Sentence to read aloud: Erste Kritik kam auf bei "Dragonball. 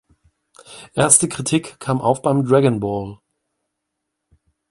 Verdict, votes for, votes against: rejected, 1, 2